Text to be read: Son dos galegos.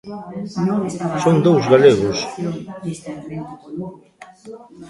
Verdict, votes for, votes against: rejected, 0, 3